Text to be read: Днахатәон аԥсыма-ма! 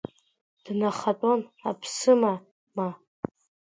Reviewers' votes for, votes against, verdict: 1, 2, rejected